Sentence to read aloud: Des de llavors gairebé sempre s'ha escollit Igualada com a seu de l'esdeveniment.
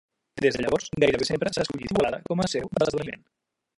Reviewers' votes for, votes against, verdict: 0, 2, rejected